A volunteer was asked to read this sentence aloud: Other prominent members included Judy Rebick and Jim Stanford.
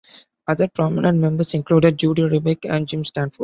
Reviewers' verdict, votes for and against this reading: accepted, 2, 0